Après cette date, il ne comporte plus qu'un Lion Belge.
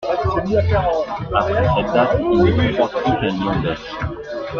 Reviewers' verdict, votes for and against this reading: rejected, 1, 2